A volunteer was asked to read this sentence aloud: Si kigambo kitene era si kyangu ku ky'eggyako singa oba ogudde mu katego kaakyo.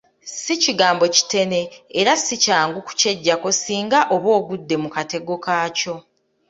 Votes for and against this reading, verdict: 2, 0, accepted